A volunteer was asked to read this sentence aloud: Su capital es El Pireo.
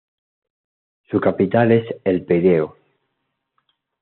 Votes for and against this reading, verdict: 2, 1, accepted